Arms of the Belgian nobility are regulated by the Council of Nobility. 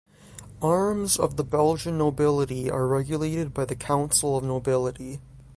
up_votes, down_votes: 3, 0